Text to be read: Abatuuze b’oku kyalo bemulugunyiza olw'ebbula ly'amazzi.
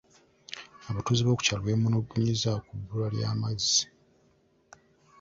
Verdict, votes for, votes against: rejected, 0, 2